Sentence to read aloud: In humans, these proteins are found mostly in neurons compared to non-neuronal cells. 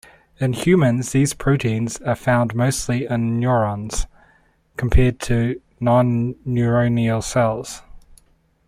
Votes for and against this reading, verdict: 1, 2, rejected